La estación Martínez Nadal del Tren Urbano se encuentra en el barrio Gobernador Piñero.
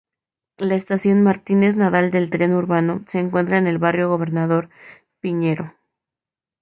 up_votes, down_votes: 4, 0